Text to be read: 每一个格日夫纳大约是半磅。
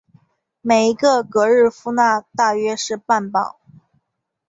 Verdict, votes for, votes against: accepted, 2, 0